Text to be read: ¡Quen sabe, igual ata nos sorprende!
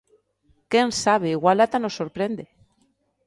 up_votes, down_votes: 2, 0